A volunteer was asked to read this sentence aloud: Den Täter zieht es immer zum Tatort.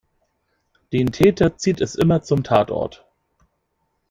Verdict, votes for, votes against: rejected, 0, 2